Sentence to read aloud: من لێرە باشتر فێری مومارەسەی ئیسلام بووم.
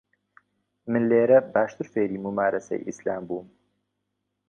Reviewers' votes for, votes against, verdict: 2, 0, accepted